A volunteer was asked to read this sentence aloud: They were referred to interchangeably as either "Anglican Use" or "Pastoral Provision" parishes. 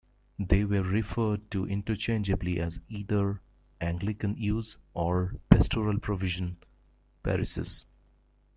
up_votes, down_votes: 2, 0